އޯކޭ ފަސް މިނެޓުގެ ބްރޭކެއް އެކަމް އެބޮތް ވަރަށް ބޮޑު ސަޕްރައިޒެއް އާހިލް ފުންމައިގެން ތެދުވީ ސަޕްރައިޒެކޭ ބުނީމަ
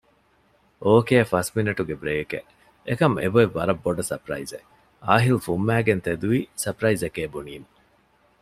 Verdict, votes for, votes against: accepted, 2, 0